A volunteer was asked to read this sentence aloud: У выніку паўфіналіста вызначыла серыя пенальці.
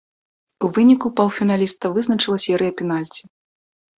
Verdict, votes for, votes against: accepted, 2, 1